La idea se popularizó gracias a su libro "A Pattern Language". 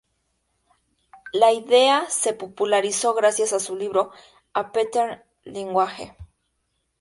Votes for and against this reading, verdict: 2, 0, accepted